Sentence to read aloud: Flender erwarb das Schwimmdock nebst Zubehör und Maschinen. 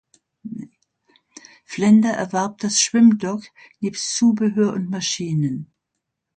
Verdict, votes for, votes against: accepted, 2, 0